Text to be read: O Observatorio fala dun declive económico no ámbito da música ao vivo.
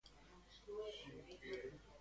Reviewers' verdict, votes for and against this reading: rejected, 0, 2